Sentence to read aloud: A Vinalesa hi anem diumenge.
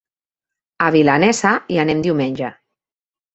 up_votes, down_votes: 0, 2